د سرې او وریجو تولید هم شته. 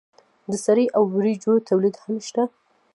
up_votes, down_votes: 1, 2